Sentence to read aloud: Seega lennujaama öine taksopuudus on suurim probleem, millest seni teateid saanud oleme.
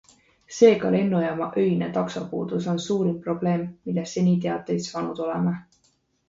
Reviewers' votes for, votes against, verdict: 2, 0, accepted